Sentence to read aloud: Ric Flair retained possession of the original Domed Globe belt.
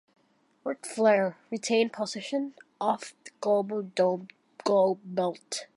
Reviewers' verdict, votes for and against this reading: rejected, 0, 2